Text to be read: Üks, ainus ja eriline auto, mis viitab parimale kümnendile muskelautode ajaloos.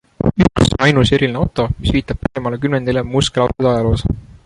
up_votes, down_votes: 1, 2